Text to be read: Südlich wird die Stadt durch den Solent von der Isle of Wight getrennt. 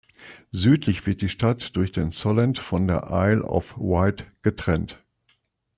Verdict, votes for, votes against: accepted, 2, 0